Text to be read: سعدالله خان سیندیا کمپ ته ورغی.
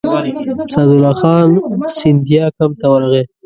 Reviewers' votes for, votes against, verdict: 1, 2, rejected